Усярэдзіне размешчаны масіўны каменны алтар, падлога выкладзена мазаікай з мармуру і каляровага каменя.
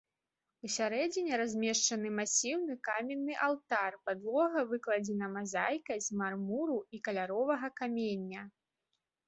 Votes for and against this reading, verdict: 1, 3, rejected